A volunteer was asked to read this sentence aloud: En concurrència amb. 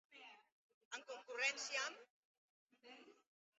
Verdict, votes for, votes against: rejected, 0, 2